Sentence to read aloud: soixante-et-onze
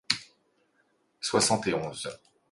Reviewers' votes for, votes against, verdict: 2, 0, accepted